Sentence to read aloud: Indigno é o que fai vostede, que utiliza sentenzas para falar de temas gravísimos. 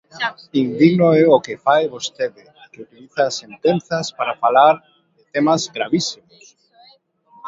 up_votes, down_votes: 1, 2